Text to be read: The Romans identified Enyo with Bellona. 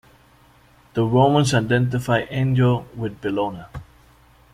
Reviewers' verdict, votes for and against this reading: accepted, 2, 0